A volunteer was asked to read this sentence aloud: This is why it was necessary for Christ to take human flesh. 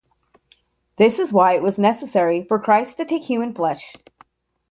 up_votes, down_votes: 2, 0